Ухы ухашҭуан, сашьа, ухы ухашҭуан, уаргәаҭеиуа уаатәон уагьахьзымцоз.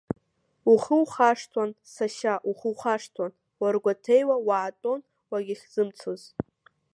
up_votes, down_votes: 2, 0